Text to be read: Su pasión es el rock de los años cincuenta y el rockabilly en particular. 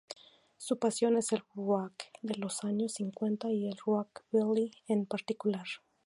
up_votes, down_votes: 0, 2